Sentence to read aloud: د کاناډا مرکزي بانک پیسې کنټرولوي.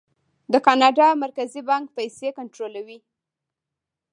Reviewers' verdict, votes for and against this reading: rejected, 1, 3